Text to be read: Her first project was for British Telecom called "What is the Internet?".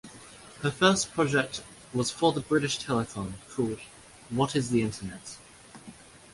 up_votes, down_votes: 1, 2